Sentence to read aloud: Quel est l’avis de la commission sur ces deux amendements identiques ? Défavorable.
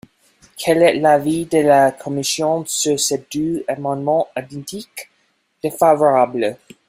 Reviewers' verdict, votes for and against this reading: rejected, 1, 2